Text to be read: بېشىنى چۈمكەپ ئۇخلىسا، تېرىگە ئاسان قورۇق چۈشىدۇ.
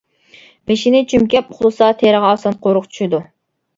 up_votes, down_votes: 1, 2